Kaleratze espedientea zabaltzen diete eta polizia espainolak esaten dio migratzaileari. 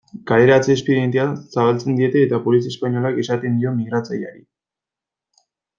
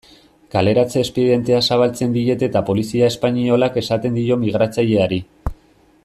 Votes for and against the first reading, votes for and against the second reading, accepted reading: 2, 0, 1, 2, first